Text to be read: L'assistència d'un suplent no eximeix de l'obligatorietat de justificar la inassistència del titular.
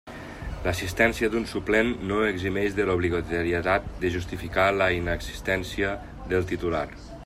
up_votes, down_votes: 1, 2